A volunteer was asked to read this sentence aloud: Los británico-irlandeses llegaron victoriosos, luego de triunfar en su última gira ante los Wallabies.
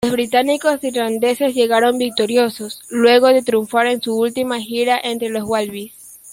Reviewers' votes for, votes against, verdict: 1, 2, rejected